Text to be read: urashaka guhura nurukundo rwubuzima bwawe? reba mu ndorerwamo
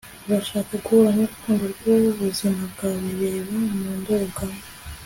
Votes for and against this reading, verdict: 2, 0, accepted